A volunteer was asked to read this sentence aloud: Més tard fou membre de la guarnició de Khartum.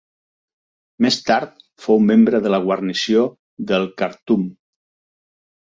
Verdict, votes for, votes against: rejected, 1, 2